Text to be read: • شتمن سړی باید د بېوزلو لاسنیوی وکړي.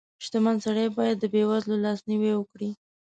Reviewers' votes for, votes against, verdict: 2, 0, accepted